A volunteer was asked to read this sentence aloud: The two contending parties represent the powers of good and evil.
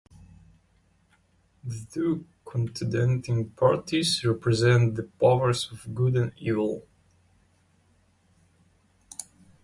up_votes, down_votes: 0, 2